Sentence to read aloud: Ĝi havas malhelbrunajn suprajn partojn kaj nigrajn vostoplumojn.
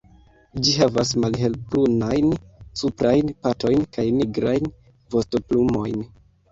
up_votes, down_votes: 1, 2